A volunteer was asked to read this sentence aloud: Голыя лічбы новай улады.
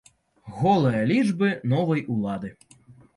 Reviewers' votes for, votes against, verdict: 2, 0, accepted